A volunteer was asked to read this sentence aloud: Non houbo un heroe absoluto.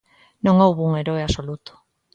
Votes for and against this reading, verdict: 2, 0, accepted